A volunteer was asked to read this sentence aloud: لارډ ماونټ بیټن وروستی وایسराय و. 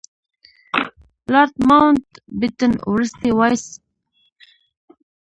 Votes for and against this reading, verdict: 0, 2, rejected